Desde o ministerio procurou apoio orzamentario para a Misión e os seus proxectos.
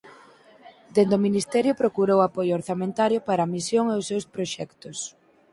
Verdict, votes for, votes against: rejected, 2, 4